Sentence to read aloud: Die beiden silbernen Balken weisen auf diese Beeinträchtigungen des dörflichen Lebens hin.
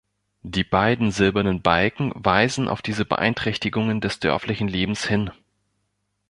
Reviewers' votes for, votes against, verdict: 2, 0, accepted